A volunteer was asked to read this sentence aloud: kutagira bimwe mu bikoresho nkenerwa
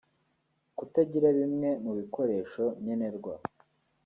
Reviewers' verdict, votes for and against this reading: rejected, 1, 2